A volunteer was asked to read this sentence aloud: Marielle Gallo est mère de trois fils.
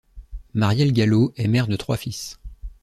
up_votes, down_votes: 2, 0